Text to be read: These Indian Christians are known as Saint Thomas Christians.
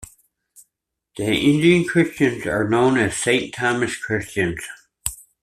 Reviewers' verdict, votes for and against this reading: rejected, 0, 2